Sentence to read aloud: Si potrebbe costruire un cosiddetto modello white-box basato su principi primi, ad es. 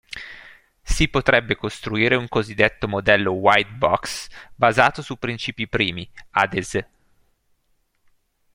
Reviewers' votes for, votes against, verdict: 2, 0, accepted